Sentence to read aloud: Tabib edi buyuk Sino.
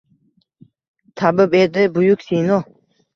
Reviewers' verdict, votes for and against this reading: rejected, 1, 2